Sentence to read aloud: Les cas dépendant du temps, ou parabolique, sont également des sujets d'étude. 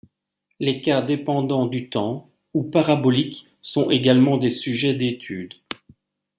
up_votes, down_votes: 2, 0